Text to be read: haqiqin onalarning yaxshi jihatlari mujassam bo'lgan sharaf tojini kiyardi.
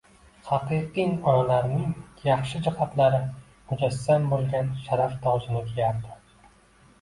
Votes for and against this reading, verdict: 2, 0, accepted